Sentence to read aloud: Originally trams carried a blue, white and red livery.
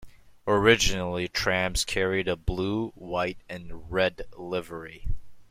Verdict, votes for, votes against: accepted, 2, 0